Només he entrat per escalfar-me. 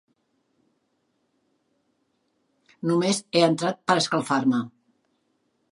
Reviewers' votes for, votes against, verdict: 3, 0, accepted